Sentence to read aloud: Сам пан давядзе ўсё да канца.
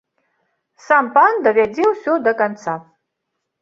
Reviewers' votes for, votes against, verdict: 2, 0, accepted